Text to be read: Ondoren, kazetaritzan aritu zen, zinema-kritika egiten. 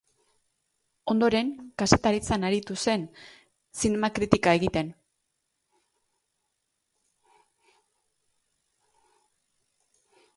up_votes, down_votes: 3, 0